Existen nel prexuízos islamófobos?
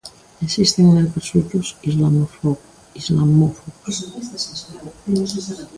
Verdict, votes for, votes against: rejected, 0, 2